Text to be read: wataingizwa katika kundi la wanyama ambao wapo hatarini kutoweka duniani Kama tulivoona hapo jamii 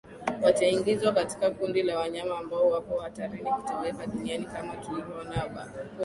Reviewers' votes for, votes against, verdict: 4, 0, accepted